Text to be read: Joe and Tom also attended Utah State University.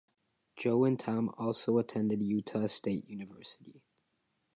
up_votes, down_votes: 2, 0